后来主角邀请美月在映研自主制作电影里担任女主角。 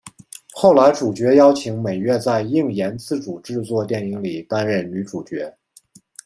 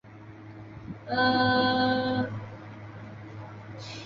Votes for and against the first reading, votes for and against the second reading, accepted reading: 2, 0, 0, 2, first